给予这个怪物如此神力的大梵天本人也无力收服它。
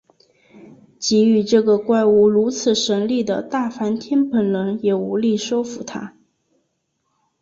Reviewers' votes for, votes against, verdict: 3, 1, accepted